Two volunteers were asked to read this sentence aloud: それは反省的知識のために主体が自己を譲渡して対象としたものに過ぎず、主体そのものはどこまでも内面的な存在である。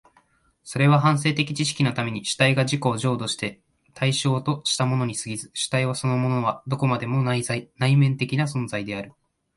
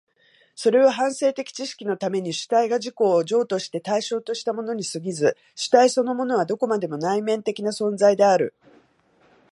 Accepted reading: second